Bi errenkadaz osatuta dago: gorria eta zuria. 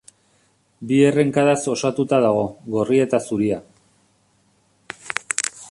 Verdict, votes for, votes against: accepted, 2, 0